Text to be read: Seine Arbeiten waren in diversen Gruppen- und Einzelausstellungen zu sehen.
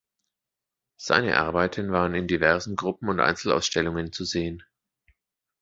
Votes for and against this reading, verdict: 2, 0, accepted